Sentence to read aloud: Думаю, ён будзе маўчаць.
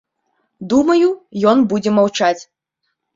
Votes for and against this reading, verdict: 2, 0, accepted